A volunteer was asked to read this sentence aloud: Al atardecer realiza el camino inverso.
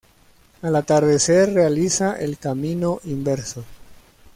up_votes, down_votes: 2, 0